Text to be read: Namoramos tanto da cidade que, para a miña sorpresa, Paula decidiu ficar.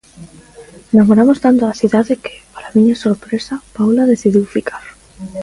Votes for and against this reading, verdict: 1, 2, rejected